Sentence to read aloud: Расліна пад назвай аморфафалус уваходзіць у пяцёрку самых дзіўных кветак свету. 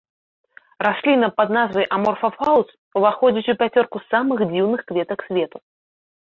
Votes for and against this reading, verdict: 2, 0, accepted